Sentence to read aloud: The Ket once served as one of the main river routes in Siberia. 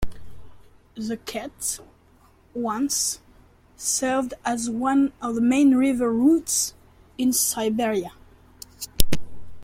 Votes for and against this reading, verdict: 1, 2, rejected